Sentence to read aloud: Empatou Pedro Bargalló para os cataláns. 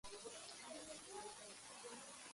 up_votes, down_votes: 0, 2